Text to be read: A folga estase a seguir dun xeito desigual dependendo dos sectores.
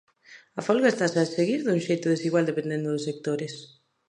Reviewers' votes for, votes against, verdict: 2, 0, accepted